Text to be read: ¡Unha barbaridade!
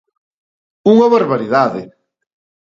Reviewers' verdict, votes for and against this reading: accepted, 2, 0